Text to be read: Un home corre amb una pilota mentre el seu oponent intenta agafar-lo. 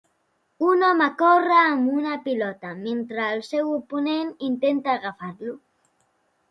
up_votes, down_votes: 2, 0